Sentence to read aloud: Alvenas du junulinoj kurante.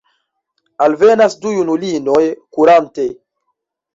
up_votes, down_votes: 0, 2